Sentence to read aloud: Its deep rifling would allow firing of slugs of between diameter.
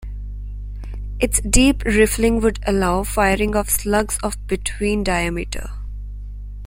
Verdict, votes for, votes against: rejected, 0, 2